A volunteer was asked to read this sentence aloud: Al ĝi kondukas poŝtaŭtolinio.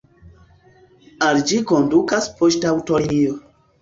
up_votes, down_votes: 1, 2